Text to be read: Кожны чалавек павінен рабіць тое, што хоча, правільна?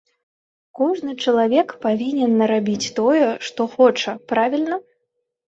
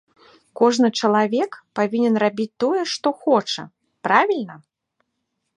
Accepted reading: second